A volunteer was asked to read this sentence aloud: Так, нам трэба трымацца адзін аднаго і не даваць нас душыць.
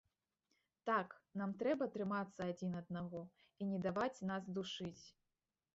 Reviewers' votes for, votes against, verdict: 2, 1, accepted